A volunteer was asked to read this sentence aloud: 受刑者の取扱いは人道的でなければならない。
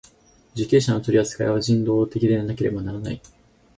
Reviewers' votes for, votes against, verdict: 4, 0, accepted